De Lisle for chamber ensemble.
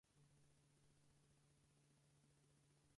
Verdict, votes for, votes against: rejected, 0, 4